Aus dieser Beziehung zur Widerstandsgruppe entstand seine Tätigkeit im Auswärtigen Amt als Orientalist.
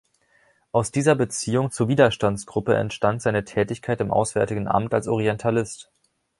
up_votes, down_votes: 2, 0